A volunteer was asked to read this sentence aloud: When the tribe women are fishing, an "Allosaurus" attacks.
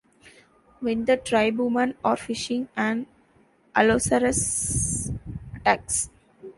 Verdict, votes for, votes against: rejected, 0, 2